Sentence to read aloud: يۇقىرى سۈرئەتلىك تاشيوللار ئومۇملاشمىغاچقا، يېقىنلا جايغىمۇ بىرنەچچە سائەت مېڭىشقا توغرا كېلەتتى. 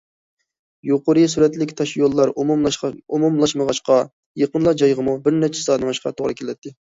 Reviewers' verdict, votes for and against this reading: rejected, 0, 2